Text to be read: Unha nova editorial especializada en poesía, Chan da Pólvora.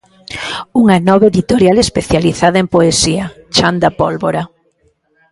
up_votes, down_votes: 0, 2